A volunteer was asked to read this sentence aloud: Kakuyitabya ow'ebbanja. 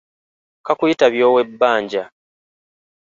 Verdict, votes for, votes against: accepted, 3, 0